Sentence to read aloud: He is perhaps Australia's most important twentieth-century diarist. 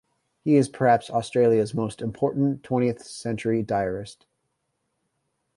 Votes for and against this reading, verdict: 2, 0, accepted